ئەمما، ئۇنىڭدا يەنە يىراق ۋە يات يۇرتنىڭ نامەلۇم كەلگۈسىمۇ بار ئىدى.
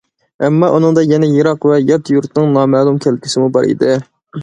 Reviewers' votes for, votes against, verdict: 2, 0, accepted